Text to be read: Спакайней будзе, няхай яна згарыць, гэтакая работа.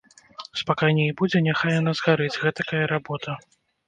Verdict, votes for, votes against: accepted, 2, 0